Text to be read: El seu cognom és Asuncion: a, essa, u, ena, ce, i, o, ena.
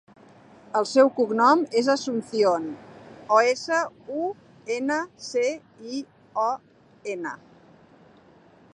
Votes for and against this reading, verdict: 1, 2, rejected